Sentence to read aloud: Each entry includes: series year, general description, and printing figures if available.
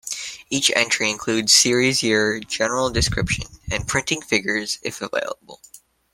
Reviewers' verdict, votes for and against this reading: accepted, 2, 0